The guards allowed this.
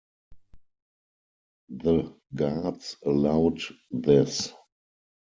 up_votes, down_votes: 4, 0